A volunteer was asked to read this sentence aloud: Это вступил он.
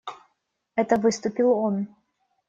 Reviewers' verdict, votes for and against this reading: rejected, 0, 2